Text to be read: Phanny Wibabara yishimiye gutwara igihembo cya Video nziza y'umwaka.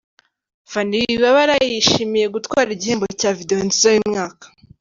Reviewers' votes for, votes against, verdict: 1, 2, rejected